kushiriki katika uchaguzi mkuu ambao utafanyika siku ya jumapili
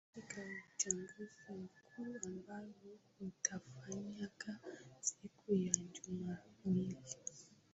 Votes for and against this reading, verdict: 0, 2, rejected